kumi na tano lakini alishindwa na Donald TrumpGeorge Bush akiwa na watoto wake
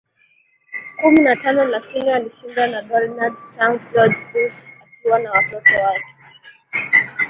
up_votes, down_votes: 2, 0